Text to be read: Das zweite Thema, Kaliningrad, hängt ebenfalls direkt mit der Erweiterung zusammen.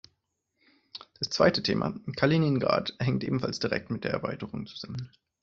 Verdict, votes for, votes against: accepted, 2, 0